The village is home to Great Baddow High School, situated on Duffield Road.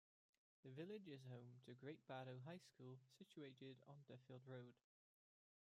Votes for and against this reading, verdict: 0, 2, rejected